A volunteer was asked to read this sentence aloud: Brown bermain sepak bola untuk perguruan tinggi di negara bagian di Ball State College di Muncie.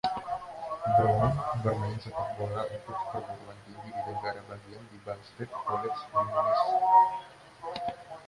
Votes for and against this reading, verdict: 1, 2, rejected